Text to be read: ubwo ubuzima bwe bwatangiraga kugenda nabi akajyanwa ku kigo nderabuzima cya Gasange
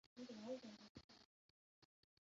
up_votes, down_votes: 0, 2